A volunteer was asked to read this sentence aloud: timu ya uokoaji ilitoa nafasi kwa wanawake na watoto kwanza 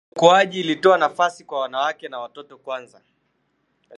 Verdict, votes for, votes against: rejected, 0, 2